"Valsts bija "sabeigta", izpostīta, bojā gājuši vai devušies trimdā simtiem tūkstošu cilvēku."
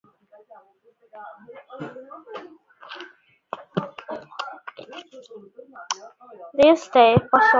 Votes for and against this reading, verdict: 0, 2, rejected